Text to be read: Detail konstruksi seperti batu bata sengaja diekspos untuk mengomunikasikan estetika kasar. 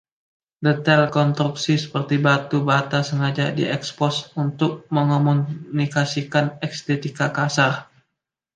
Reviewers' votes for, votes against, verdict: 2, 0, accepted